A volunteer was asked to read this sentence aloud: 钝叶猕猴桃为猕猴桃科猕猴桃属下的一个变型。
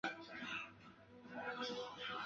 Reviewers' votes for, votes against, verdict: 0, 2, rejected